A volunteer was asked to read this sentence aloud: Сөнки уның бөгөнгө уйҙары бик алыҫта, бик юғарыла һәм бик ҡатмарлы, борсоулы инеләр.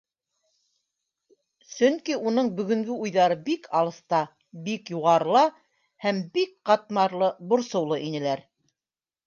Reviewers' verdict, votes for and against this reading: accepted, 2, 0